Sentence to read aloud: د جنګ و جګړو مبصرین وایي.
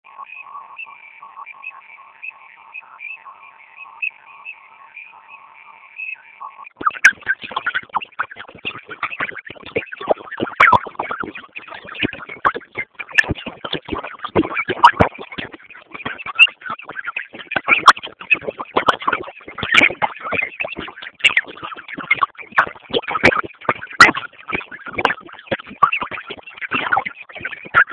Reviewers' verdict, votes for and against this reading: rejected, 0, 2